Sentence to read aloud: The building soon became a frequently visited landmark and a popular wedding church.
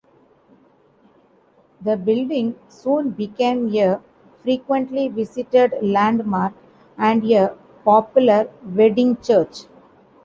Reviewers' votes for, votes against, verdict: 2, 0, accepted